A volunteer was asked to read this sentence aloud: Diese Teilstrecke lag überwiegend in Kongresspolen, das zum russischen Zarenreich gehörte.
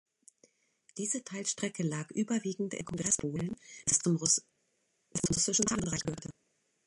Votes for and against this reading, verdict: 0, 2, rejected